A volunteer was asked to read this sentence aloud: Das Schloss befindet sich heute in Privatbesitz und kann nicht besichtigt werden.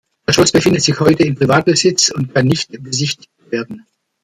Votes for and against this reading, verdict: 1, 2, rejected